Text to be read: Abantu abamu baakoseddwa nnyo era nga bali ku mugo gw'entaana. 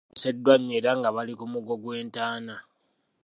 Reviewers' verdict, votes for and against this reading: rejected, 0, 2